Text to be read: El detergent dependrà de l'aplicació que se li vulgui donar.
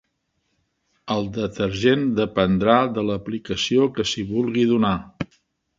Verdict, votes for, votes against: rejected, 0, 2